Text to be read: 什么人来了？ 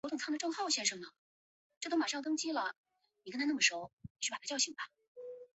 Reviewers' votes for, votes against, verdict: 0, 3, rejected